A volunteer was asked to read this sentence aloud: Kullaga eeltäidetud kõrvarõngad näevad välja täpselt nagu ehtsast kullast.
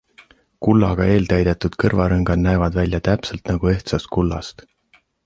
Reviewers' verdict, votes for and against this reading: accepted, 2, 0